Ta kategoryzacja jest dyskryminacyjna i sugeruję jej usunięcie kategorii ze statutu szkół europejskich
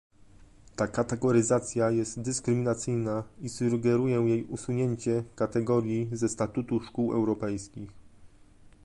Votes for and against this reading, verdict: 2, 0, accepted